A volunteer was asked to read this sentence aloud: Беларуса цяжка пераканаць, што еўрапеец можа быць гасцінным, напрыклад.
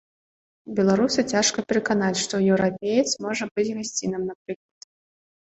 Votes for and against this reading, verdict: 2, 0, accepted